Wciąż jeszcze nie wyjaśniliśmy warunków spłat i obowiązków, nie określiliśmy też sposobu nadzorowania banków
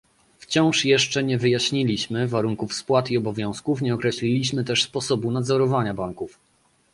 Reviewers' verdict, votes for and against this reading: accepted, 2, 0